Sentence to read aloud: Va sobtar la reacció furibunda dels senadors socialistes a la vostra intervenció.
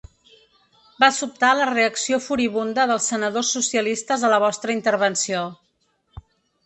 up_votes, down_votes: 3, 0